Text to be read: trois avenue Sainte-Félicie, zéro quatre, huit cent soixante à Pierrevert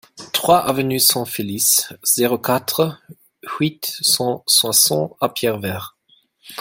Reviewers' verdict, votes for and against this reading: rejected, 1, 2